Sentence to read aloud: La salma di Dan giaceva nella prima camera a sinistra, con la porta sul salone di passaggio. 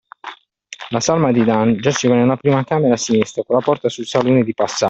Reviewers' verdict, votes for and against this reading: rejected, 0, 2